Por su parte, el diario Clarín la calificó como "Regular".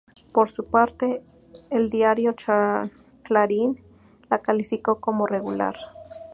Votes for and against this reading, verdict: 2, 0, accepted